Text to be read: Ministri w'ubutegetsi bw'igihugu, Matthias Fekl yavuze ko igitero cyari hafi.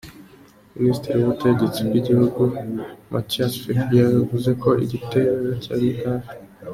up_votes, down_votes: 2, 1